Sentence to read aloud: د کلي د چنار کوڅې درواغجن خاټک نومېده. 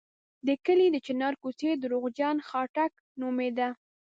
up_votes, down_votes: 2, 0